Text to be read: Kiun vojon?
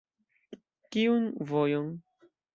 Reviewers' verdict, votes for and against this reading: accepted, 2, 0